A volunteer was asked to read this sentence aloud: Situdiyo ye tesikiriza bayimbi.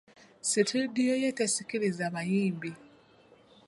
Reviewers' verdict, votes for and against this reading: accepted, 3, 0